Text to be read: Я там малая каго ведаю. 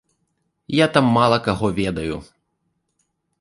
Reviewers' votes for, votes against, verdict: 0, 2, rejected